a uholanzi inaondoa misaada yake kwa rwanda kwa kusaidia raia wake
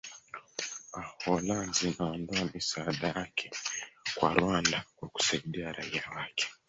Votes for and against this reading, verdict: 1, 3, rejected